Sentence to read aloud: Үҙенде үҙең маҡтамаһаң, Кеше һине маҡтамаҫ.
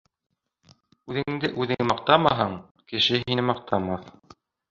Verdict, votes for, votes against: accepted, 3, 1